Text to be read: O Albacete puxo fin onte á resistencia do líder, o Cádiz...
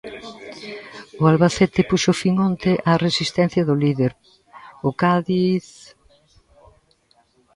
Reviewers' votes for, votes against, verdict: 2, 0, accepted